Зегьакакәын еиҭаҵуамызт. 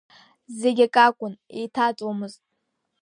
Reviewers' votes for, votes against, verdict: 2, 0, accepted